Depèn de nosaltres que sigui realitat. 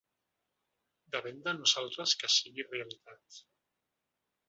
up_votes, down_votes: 0, 2